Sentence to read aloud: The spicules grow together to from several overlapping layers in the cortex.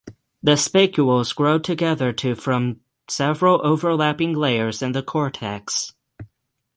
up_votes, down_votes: 3, 6